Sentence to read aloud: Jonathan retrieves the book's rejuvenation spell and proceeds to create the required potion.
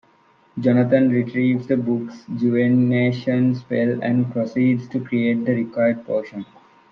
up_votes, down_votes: 0, 2